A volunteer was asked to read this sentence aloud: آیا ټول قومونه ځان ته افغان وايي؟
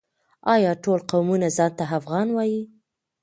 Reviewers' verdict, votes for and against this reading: accepted, 2, 1